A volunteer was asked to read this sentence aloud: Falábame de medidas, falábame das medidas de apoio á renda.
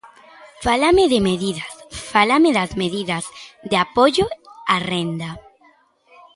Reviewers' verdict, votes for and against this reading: rejected, 0, 2